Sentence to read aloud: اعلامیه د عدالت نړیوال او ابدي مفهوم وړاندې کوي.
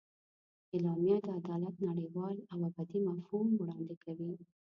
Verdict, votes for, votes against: rejected, 0, 2